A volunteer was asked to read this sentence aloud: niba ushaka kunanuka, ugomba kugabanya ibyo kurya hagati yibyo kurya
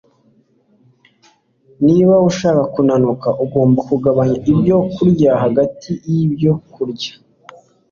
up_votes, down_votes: 2, 0